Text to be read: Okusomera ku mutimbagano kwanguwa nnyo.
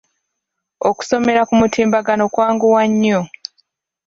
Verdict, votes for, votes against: rejected, 0, 2